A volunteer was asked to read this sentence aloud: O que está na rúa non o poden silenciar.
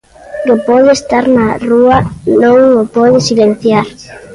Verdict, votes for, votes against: rejected, 0, 2